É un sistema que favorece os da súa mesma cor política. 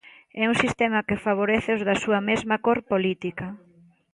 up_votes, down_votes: 3, 0